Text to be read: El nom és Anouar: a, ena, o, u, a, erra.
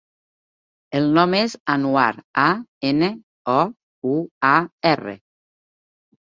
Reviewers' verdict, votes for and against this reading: rejected, 0, 2